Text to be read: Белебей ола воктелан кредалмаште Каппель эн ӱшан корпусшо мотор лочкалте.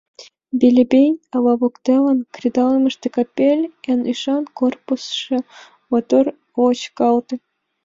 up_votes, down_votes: 1, 2